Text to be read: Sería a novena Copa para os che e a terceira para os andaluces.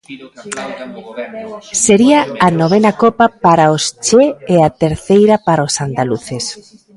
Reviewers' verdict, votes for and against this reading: rejected, 1, 2